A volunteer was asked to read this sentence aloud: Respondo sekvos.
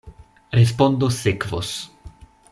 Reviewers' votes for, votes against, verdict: 2, 0, accepted